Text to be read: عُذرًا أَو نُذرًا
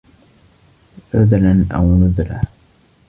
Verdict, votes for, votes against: accepted, 2, 0